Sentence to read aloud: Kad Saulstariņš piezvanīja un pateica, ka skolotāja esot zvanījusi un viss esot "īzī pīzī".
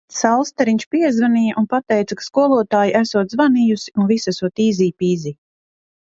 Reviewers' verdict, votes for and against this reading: rejected, 0, 2